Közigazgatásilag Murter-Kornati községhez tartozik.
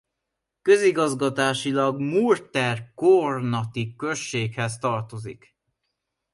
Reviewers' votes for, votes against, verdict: 2, 0, accepted